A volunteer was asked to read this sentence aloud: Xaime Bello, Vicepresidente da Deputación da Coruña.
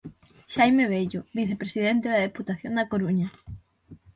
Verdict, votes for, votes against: accepted, 6, 0